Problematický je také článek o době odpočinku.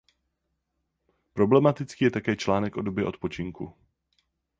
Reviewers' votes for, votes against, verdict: 4, 4, rejected